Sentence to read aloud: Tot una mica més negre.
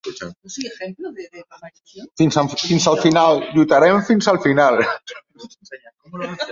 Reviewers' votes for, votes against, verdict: 0, 2, rejected